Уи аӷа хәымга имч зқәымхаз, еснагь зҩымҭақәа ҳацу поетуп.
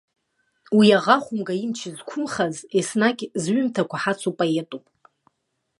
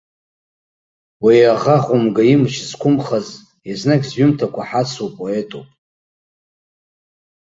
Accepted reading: second